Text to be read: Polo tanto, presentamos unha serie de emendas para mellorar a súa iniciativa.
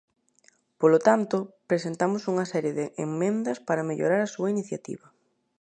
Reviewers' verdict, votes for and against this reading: rejected, 0, 2